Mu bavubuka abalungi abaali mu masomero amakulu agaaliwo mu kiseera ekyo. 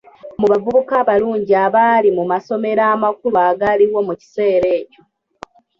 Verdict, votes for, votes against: accepted, 3, 0